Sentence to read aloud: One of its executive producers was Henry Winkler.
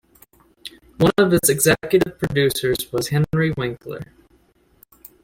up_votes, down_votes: 2, 1